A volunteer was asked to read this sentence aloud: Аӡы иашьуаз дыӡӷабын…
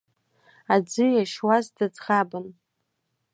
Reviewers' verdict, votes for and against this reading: accepted, 2, 0